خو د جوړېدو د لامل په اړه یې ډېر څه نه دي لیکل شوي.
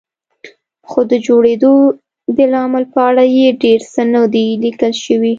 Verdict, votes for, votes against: accepted, 2, 0